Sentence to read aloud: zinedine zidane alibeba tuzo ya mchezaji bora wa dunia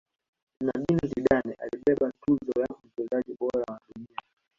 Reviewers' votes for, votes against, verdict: 1, 2, rejected